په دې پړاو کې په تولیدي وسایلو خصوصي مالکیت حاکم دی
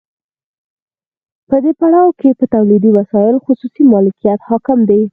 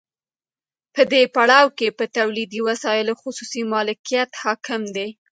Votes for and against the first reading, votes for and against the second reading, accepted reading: 2, 4, 2, 0, second